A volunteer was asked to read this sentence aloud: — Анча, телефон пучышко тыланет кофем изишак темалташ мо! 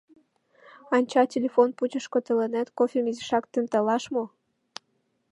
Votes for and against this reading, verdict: 2, 1, accepted